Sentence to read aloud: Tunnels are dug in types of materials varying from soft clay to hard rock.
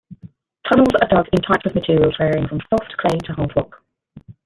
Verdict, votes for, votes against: rejected, 0, 2